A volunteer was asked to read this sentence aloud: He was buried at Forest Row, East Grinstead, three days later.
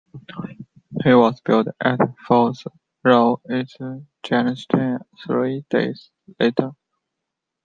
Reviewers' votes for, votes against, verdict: 0, 2, rejected